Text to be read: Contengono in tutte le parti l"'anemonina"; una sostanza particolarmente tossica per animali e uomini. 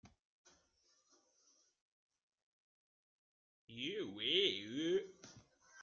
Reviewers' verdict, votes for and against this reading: rejected, 0, 2